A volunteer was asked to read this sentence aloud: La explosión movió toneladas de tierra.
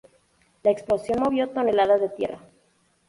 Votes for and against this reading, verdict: 2, 0, accepted